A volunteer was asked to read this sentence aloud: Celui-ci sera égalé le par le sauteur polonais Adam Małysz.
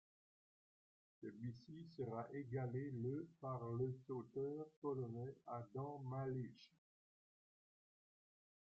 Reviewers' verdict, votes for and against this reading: accepted, 2, 1